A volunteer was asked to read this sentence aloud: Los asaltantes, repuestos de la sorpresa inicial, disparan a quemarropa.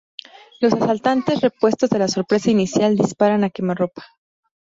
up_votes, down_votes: 2, 2